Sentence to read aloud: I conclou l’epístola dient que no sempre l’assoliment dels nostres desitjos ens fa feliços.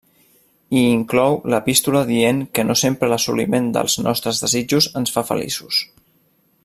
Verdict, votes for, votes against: rejected, 0, 2